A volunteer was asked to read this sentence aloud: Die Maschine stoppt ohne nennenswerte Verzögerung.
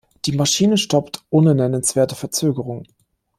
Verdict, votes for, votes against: accepted, 2, 0